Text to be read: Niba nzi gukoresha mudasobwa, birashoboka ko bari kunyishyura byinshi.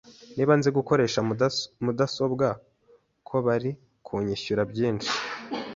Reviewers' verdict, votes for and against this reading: rejected, 0, 2